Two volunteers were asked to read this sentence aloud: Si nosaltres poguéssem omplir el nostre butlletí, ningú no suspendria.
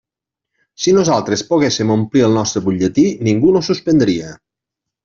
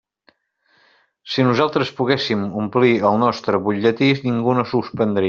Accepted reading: first